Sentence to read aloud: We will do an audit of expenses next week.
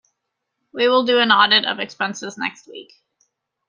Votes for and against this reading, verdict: 2, 0, accepted